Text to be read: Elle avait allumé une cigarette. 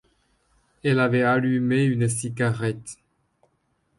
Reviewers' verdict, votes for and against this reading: accepted, 2, 0